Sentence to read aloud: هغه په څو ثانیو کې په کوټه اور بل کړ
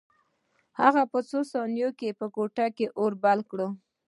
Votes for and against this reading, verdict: 2, 1, accepted